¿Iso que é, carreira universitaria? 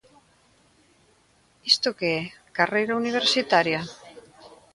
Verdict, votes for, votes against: rejected, 0, 2